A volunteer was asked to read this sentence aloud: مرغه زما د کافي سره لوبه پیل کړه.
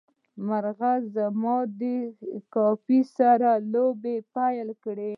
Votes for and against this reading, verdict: 1, 2, rejected